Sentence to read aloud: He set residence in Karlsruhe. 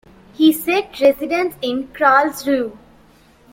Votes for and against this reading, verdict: 0, 2, rejected